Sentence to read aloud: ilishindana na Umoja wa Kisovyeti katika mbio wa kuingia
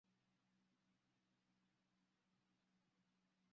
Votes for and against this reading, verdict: 0, 2, rejected